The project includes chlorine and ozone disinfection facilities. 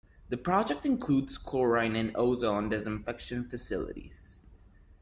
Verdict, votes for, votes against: accepted, 3, 0